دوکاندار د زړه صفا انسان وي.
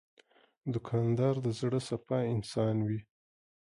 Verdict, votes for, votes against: accepted, 2, 0